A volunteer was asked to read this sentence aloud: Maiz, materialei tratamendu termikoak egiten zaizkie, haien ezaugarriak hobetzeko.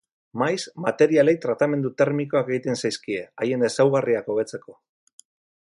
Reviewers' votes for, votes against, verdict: 2, 4, rejected